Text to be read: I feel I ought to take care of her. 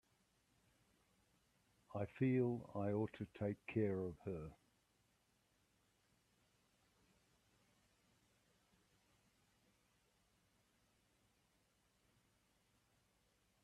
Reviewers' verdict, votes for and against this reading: rejected, 0, 3